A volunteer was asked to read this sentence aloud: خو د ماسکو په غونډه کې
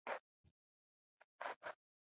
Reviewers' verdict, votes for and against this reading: rejected, 1, 2